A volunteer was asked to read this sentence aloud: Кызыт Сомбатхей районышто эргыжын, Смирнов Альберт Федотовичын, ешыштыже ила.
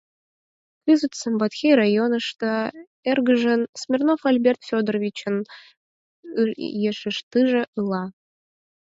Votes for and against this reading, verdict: 0, 4, rejected